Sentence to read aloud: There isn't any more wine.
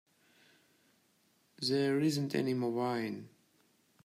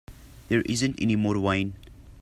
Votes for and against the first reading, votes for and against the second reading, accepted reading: 1, 2, 2, 0, second